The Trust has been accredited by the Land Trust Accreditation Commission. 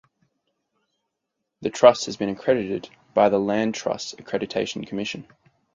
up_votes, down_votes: 4, 0